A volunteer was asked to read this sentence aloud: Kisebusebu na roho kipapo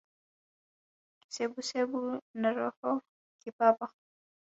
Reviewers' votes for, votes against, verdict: 1, 2, rejected